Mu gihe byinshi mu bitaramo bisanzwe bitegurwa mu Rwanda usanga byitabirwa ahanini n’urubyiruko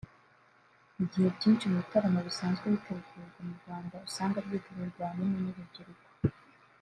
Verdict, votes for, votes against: accepted, 2, 1